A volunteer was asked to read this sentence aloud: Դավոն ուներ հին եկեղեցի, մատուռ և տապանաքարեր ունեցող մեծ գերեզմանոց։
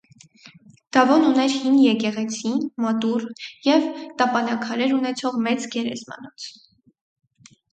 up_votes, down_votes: 4, 0